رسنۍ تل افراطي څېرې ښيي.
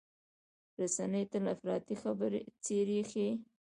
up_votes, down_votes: 2, 0